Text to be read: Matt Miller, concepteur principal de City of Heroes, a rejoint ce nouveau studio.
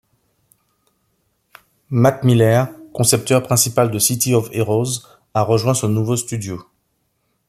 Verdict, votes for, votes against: accepted, 2, 0